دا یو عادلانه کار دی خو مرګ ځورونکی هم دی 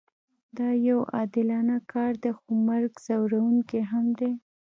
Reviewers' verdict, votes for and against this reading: rejected, 0, 2